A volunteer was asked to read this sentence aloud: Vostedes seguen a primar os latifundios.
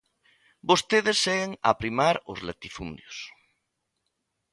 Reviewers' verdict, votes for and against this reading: accepted, 2, 0